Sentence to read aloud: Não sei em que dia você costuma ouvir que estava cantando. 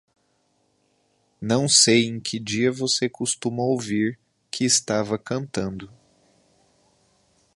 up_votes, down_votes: 2, 0